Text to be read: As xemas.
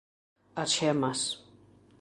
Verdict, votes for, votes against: accepted, 2, 0